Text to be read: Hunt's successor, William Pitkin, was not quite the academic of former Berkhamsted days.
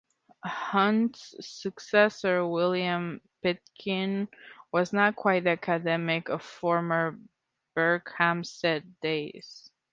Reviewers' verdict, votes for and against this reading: rejected, 1, 2